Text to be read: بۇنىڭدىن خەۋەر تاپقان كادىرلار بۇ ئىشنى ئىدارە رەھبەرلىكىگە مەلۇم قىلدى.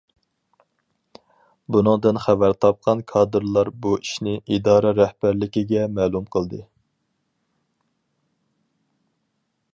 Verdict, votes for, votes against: accepted, 4, 0